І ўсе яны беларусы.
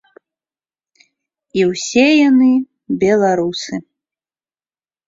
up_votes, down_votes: 2, 0